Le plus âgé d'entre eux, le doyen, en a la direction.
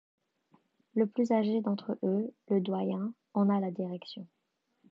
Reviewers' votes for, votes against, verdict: 2, 0, accepted